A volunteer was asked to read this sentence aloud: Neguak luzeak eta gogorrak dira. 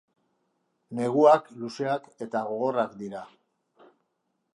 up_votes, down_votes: 2, 0